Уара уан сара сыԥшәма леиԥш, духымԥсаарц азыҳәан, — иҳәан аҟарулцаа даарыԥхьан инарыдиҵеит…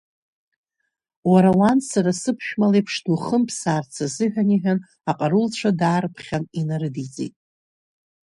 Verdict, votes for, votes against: rejected, 0, 2